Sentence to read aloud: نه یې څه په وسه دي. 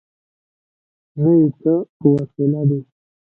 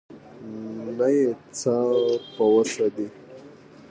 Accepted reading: second